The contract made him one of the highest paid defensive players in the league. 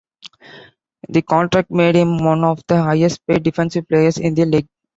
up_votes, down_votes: 2, 0